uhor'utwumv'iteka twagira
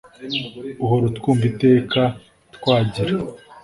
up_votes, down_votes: 2, 0